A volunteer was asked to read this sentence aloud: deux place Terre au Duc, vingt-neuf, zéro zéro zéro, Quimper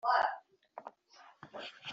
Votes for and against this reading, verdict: 1, 2, rejected